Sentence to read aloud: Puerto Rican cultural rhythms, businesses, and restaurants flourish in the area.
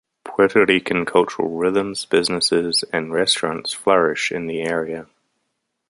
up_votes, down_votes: 2, 0